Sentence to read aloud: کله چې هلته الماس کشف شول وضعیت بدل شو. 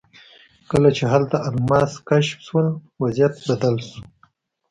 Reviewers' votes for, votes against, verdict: 2, 0, accepted